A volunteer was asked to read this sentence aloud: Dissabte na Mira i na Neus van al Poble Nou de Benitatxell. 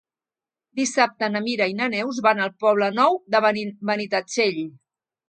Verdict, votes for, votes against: rejected, 0, 2